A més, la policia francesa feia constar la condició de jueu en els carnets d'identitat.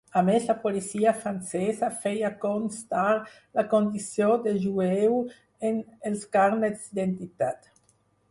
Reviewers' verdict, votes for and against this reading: rejected, 0, 4